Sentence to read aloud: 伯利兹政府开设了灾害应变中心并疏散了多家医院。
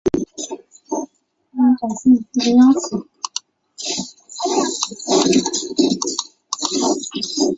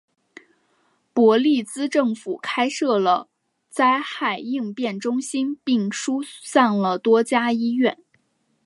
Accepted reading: second